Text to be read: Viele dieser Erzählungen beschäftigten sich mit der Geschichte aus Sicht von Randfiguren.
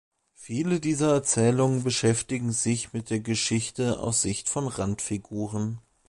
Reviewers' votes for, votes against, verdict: 2, 3, rejected